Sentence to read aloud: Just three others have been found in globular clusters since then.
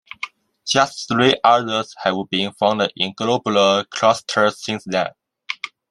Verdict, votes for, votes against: rejected, 1, 2